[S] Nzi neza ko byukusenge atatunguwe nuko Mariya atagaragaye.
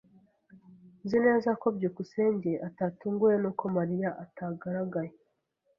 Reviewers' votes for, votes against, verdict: 1, 2, rejected